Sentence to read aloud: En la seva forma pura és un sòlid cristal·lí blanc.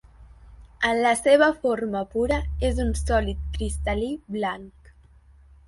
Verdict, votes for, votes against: accepted, 2, 0